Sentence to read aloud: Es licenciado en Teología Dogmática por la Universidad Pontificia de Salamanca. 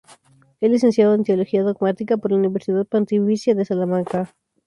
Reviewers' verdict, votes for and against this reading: rejected, 2, 2